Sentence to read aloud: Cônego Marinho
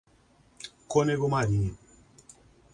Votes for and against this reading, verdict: 2, 0, accepted